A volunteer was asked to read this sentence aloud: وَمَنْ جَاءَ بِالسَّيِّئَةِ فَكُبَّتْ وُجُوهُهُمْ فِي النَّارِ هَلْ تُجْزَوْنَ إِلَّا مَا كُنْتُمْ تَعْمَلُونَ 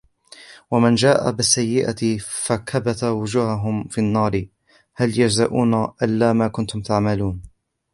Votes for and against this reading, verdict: 0, 2, rejected